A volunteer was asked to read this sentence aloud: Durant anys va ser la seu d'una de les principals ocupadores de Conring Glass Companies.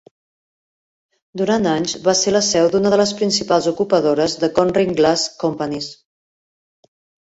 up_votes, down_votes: 3, 0